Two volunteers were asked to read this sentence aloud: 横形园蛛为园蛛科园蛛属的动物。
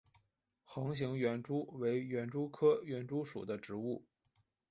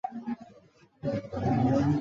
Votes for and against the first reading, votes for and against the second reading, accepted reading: 3, 0, 0, 2, first